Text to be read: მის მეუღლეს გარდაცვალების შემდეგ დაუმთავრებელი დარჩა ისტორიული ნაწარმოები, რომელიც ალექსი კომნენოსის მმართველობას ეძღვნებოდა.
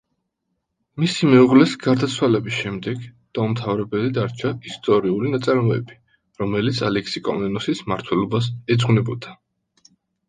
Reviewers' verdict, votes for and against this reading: rejected, 1, 2